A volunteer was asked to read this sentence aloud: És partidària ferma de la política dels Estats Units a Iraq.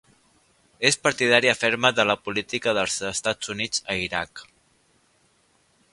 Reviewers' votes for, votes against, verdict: 3, 0, accepted